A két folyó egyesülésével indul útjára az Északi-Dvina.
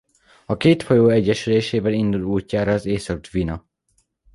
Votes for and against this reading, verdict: 1, 2, rejected